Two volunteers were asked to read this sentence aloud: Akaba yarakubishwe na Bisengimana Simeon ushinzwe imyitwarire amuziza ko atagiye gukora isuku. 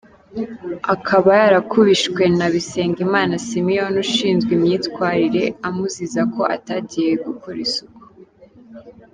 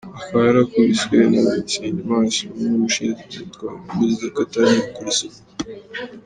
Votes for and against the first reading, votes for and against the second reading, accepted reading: 2, 0, 1, 2, first